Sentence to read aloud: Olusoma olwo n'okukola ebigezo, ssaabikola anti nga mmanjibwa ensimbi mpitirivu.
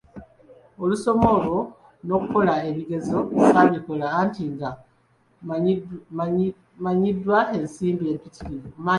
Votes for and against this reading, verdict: 0, 2, rejected